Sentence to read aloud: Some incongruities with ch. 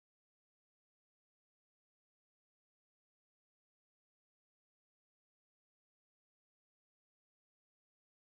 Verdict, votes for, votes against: rejected, 0, 2